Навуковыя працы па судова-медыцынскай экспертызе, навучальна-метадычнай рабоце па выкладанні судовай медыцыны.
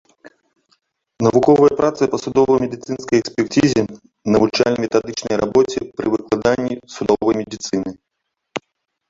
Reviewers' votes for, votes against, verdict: 0, 2, rejected